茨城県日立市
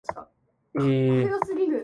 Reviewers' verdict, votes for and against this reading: rejected, 0, 2